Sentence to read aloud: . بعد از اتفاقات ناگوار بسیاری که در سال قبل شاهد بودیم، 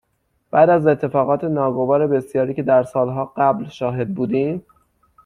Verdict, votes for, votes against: rejected, 0, 6